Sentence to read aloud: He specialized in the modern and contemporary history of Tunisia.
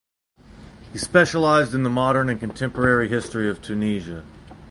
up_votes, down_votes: 2, 2